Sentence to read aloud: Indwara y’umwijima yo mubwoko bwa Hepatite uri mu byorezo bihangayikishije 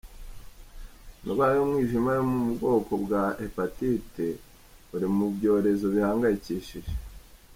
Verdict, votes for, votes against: accepted, 2, 0